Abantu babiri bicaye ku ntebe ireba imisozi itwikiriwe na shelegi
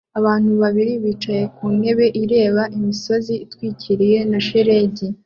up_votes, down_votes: 2, 0